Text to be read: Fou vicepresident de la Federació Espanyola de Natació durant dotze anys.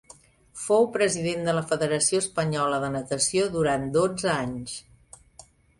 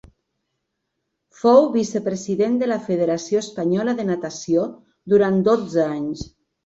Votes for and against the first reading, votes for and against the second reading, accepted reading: 0, 2, 3, 0, second